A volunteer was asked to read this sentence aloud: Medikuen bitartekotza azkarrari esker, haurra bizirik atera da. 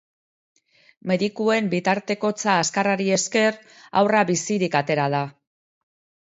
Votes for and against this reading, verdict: 3, 0, accepted